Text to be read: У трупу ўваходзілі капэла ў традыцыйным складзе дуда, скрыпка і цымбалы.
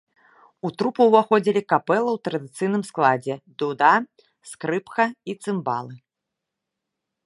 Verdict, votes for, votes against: accepted, 2, 0